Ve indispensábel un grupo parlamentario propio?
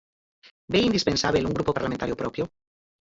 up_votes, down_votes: 0, 4